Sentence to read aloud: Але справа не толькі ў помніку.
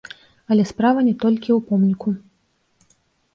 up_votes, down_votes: 0, 2